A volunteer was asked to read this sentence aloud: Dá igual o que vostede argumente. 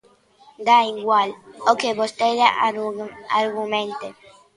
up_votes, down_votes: 0, 2